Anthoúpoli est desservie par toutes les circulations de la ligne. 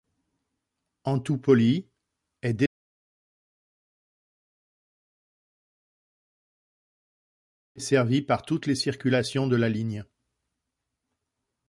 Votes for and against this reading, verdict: 0, 2, rejected